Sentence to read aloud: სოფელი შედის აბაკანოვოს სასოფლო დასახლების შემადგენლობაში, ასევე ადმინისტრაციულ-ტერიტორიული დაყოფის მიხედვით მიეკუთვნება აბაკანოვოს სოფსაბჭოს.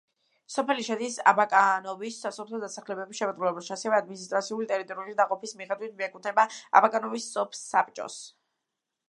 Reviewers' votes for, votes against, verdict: 0, 2, rejected